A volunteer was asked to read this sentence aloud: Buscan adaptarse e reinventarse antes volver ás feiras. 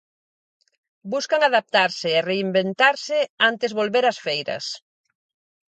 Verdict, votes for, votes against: accepted, 4, 0